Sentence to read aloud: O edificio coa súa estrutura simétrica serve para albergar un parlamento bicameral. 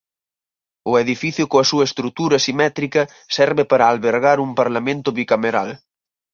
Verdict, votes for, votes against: accepted, 4, 0